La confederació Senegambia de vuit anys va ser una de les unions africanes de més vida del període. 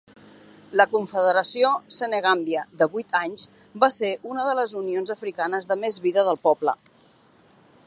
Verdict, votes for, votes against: rejected, 0, 2